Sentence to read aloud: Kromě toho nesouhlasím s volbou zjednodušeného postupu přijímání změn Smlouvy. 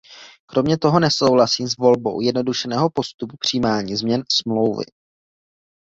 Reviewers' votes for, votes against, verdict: 1, 2, rejected